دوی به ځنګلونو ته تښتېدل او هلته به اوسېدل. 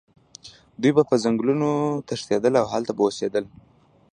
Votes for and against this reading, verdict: 1, 2, rejected